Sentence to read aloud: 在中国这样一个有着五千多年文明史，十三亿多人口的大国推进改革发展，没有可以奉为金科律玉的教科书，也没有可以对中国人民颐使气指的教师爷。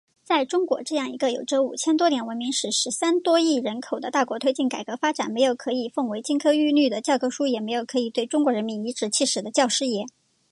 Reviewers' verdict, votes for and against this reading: accepted, 9, 0